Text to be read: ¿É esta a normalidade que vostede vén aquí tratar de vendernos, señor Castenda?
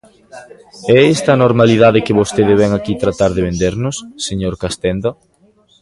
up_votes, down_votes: 2, 0